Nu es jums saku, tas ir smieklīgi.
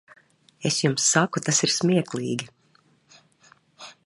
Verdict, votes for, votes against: rejected, 0, 3